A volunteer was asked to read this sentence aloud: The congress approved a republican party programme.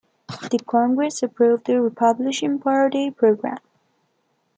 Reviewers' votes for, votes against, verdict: 0, 2, rejected